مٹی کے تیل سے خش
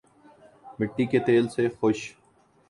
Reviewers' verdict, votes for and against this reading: rejected, 2, 2